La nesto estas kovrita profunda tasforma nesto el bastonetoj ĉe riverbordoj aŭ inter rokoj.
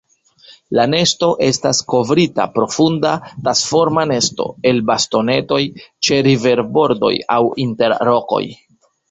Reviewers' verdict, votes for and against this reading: rejected, 1, 2